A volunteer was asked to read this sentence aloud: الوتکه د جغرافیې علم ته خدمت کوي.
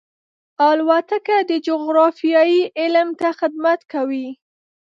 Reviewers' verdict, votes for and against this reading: rejected, 1, 2